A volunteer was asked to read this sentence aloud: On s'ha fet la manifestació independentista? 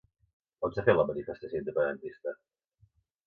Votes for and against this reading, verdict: 4, 0, accepted